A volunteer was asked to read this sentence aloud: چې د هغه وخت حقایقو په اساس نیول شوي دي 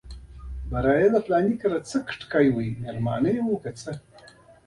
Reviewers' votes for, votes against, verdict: 2, 1, accepted